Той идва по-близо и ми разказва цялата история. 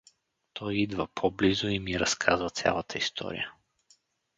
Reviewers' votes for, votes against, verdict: 4, 2, accepted